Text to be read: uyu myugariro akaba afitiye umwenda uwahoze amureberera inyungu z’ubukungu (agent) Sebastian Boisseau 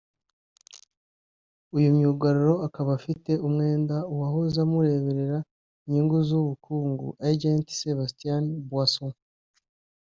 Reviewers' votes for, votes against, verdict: 0, 2, rejected